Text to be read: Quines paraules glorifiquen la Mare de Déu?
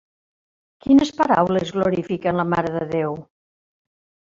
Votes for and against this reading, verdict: 1, 2, rejected